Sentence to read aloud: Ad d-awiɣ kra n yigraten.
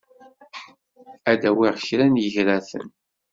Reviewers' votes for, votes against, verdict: 2, 0, accepted